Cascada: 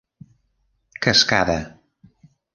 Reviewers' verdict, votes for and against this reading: accepted, 3, 1